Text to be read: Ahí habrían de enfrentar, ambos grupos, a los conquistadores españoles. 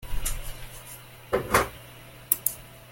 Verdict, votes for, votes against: rejected, 0, 2